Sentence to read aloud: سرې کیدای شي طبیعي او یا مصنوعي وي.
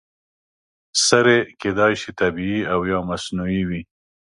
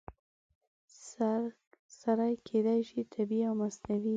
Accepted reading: first